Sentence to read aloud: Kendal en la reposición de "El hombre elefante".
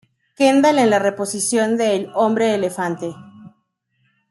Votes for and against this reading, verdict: 2, 0, accepted